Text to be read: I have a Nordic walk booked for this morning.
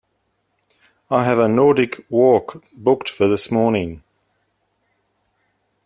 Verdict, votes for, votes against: accepted, 2, 0